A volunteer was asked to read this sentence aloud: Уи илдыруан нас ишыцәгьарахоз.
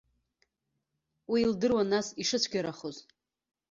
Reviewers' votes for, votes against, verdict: 2, 0, accepted